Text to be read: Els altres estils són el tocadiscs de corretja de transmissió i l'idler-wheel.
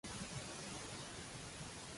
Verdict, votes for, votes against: rejected, 0, 3